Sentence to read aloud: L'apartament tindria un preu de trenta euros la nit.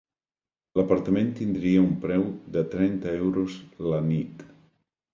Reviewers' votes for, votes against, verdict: 2, 0, accepted